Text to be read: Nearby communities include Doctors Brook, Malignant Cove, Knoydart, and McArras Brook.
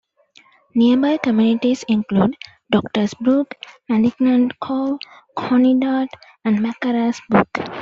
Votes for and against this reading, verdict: 0, 2, rejected